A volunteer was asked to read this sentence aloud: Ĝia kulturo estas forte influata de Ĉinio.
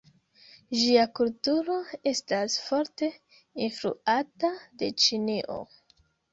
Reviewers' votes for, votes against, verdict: 2, 0, accepted